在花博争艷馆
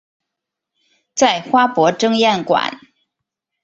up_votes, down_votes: 2, 0